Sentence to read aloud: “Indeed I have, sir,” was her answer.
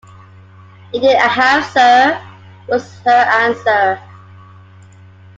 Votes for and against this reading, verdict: 0, 2, rejected